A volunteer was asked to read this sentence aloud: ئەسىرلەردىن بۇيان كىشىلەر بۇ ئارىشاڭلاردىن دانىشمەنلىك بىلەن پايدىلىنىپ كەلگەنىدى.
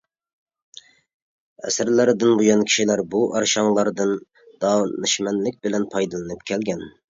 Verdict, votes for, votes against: rejected, 0, 2